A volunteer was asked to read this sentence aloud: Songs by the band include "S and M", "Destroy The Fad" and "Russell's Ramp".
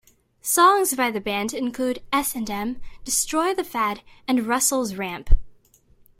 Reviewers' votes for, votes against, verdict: 2, 0, accepted